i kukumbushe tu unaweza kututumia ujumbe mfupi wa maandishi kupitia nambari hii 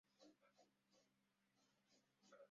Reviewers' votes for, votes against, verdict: 0, 2, rejected